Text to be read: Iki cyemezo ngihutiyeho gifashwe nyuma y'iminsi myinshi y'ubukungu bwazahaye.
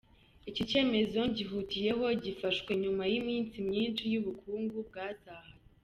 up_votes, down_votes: 2, 0